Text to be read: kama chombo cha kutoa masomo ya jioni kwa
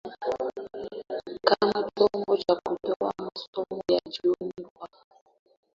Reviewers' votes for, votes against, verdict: 0, 2, rejected